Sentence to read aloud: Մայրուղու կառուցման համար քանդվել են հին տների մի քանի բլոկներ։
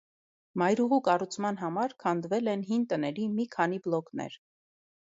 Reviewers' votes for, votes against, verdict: 2, 0, accepted